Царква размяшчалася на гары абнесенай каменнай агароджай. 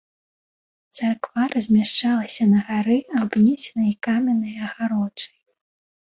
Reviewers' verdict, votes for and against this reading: rejected, 1, 2